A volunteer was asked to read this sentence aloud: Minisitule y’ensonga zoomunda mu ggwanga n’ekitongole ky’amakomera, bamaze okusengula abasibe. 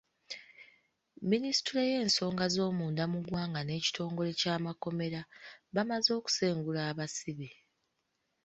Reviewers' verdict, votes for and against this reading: accepted, 2, 0